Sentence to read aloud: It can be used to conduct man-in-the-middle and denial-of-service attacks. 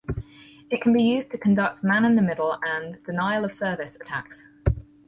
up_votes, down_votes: 4, 0